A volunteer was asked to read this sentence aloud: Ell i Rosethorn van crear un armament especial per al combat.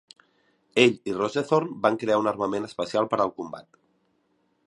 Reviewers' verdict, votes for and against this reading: accepted, 4, 0